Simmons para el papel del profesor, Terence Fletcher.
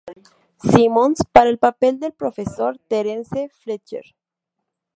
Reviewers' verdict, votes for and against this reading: rejected, 0, 2